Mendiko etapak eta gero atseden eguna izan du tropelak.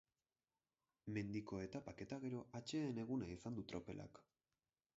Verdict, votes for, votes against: rejected, 4, 6